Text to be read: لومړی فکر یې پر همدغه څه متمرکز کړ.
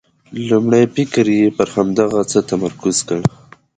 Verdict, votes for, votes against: accepted, 2, 0